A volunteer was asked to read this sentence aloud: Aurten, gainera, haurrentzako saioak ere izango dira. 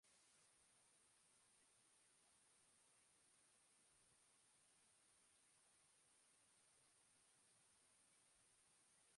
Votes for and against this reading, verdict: 1, 3, rejected